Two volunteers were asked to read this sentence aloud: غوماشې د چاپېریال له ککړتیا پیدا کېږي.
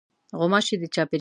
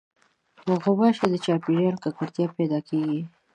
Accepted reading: second